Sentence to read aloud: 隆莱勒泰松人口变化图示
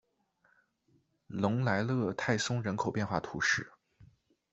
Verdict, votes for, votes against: accepted, 2, 0